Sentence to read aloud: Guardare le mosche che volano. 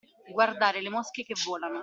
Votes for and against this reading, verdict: 2, 0, accepted